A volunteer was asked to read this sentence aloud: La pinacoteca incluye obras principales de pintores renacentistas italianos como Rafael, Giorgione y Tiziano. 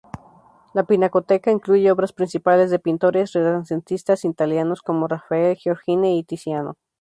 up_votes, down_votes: 0, 2